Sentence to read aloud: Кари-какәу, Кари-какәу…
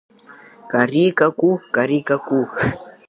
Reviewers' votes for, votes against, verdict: 2, 0, accepted